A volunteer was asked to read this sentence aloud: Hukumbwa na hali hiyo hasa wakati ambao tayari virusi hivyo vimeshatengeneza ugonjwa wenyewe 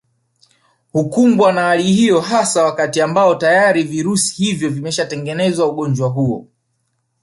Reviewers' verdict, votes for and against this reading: accepted, 2, 0